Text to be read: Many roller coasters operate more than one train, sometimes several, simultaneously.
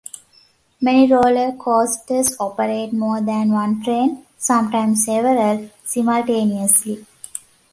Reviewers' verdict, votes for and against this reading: accepted, 2, 1